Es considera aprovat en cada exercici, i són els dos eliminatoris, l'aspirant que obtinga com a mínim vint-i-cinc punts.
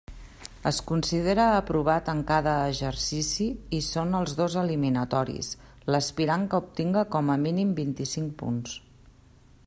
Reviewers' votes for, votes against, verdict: 3, 1, accepted